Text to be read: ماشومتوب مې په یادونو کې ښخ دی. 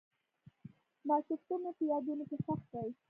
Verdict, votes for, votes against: rejected, 0, 2